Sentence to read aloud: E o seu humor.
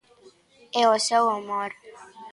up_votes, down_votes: 2, 0